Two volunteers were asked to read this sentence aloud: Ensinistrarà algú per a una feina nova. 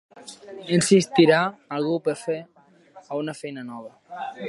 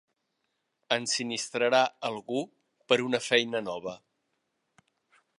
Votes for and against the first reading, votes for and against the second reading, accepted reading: 0, 2, 2, 0, second